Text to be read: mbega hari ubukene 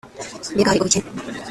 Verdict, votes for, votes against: rejected, 0, 2